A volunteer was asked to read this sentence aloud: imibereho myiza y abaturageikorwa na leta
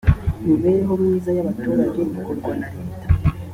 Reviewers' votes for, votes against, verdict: 2, 0, accepted